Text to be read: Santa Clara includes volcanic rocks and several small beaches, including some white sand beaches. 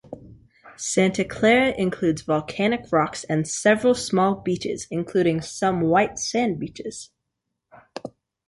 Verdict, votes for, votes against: accepted, 2, 0